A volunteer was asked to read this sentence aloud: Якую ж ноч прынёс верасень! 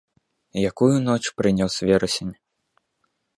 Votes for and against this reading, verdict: 0, 2, rejected